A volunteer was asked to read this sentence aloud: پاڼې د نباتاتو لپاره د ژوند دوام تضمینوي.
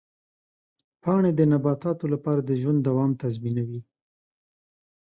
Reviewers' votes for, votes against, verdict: 2, 0, accepted